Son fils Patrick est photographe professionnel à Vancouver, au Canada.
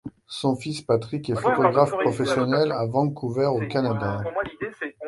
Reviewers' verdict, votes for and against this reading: rejected, 1, 2